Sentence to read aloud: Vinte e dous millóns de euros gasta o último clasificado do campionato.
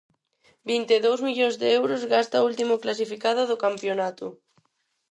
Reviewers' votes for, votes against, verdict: 4, 0, accepted